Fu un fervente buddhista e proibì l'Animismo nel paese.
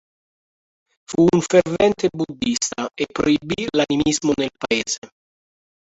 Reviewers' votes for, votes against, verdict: 1, 2, rejected